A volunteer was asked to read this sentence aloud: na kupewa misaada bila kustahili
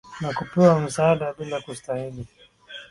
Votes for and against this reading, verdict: 2, 0, accepted